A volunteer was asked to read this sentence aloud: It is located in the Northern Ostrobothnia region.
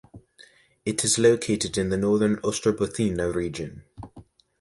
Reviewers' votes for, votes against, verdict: 2, 1, accepted